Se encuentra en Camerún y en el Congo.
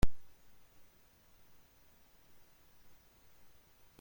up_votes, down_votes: 0, 2